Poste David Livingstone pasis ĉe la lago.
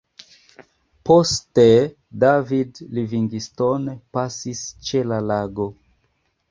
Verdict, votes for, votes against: accepted, 2, 1